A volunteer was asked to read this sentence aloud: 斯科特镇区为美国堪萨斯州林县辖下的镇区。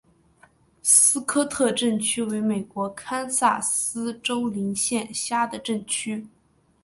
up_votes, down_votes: 2, 3